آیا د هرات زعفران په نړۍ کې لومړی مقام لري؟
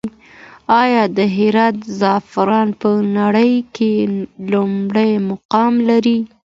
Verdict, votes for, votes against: accepted, 2, 0